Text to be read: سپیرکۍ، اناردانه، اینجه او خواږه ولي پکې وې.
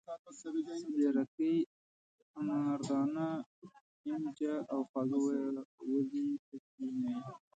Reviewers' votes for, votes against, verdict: 1, 2, rejected